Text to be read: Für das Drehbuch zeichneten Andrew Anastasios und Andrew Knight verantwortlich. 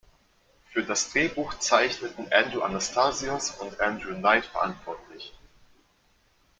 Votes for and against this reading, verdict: 2, 0, accepted